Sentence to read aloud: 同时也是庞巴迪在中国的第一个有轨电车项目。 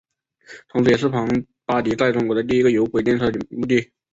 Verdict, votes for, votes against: rejected, 2, 4